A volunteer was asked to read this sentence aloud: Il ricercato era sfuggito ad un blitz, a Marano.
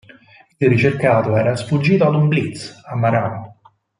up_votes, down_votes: 4, 0